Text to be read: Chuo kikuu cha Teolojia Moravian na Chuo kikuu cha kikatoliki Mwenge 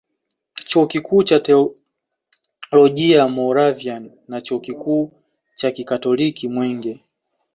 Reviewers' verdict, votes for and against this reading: rejected, 0, 2